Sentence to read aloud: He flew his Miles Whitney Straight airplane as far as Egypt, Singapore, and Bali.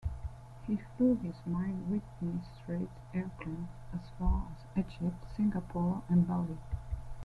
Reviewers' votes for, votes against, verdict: 2, 1, accepted